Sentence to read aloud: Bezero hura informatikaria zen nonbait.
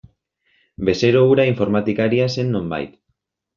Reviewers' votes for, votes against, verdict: 2, 0, accepted